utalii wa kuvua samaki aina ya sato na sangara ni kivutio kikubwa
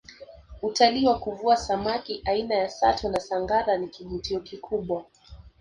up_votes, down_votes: 0, 2